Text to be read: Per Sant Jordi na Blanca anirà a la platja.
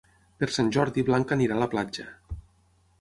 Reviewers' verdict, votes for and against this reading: rejected, 0, 6